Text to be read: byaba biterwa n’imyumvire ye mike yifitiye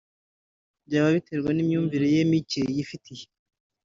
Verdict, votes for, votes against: accepted, 4, 0